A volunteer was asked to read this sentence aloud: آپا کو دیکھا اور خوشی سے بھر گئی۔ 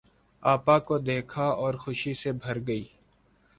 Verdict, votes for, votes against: accepted, 2, 0